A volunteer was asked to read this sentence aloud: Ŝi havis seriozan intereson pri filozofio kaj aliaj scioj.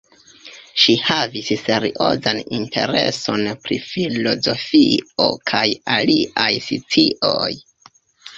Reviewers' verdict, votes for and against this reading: rejected, 0, 2